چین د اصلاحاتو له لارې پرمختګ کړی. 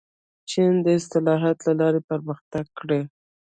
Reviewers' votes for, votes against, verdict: 1, 2, rejected